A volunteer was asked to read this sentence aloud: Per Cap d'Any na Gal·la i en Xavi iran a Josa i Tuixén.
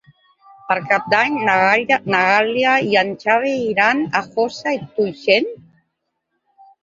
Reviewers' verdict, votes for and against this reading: rejected, 0, 2